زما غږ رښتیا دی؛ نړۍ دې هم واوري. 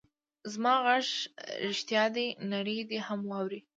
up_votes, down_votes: 2, 0